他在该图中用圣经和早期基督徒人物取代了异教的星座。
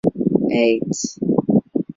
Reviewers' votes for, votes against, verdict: 0, 2, rejected